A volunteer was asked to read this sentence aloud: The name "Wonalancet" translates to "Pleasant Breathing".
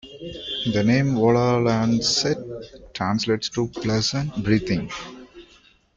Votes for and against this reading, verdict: 0, 2, rejected